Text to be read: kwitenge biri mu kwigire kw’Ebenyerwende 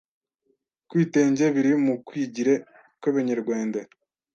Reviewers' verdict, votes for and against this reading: rejected, 1, 2